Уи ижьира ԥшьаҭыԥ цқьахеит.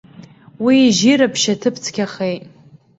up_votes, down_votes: 2, 0